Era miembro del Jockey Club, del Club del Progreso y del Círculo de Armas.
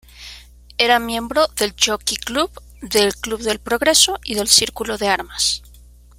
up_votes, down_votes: 2, 0